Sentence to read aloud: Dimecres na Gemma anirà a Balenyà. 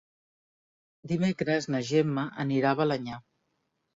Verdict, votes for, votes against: accepted, 2, 0